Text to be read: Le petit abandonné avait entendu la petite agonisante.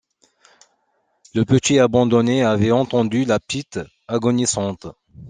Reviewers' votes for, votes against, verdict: 2, 1, accepted